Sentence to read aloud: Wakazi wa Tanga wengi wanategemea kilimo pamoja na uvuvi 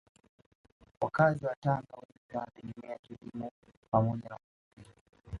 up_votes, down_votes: 0, 2